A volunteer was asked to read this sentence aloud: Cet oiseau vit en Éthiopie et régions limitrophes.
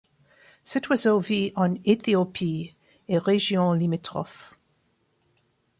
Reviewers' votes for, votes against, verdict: 2, 0, accepted